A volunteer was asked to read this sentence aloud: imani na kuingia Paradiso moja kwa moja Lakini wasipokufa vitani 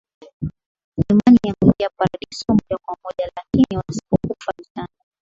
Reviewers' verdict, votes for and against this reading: accepted, 8, 3